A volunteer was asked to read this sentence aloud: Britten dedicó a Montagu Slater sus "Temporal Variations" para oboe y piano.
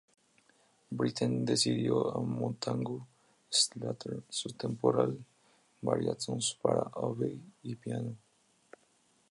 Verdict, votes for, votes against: rejected, 0, 4